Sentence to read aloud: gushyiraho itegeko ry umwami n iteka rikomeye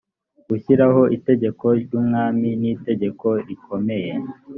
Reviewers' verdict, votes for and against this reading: rejected, 1, 2